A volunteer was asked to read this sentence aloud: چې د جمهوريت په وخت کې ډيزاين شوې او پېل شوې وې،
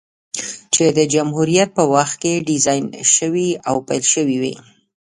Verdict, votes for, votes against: rejected, 1, 2